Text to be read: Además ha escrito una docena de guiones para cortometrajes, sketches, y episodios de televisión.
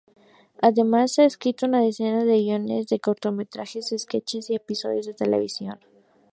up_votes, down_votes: 2, 0